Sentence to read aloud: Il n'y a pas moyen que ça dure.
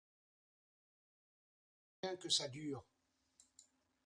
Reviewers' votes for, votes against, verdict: 0, 2, rejected